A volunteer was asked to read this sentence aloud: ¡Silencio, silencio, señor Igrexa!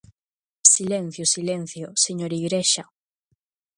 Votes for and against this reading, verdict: 2, 0, accepted